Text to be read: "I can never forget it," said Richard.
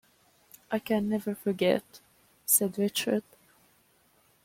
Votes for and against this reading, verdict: 1, 2, rejected